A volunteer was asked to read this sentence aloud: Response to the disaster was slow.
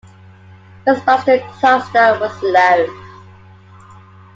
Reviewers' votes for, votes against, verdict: 0, 2, rejected